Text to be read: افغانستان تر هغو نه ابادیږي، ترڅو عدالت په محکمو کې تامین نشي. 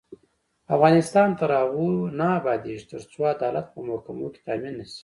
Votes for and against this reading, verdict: 0, 2, rejected